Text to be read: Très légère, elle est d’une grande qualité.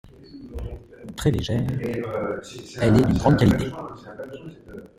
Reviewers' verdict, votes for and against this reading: rejected, 1, 2